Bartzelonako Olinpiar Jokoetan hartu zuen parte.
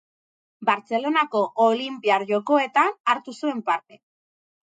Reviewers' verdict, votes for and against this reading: accepted, 4, 0